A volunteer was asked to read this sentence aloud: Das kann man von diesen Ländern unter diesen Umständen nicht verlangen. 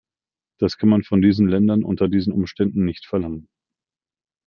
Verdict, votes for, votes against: accepted, 2, 0